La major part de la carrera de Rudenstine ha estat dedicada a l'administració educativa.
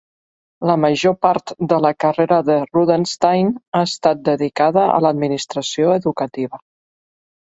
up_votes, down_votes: 2, 0